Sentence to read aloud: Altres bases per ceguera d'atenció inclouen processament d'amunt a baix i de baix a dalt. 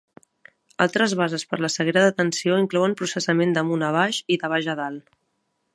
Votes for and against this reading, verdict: 1, 2, rejected